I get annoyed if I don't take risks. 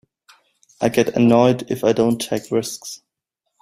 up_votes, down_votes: 2, 0